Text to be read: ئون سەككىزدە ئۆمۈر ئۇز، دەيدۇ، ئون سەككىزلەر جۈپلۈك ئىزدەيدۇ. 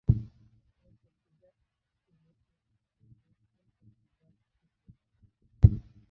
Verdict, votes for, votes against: rejected, 0, 2